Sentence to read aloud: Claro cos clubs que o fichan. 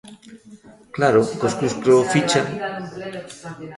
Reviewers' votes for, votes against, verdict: 0, 3, rejected